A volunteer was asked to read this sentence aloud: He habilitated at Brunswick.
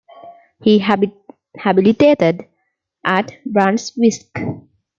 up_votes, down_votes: 1, 2